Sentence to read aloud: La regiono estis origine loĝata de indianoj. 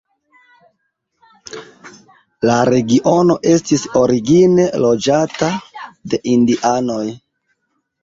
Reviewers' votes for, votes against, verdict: 2, 1, accepted